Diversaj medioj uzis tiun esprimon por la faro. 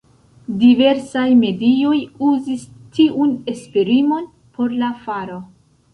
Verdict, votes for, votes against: accepted, 2, 1